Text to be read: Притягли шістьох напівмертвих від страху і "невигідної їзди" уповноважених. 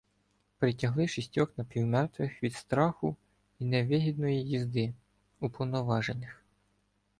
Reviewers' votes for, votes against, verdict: 0, 2, rejected